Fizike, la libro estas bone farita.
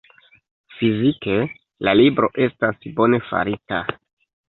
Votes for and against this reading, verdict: 2, 0, accepted